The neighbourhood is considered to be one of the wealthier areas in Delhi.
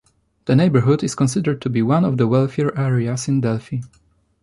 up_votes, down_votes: 3, 1